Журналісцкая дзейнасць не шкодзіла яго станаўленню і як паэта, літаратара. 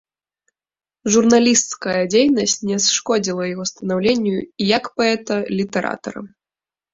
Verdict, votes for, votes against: rejected, 0, 2